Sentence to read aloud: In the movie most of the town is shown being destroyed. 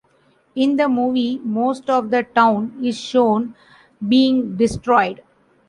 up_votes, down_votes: 2, 0